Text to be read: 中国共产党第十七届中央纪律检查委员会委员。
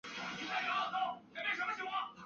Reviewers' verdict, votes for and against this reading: rejected, 2, 3